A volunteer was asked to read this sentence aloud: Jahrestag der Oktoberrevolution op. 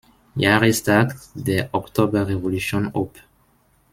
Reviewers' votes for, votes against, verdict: 1, 2, rejected